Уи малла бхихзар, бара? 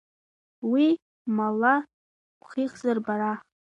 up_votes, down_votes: 2, 0